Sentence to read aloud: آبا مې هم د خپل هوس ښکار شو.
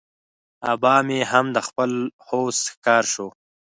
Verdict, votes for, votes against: rejected, 2, 4